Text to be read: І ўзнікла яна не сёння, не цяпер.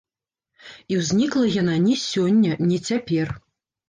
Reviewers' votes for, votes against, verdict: 1, 2, rejected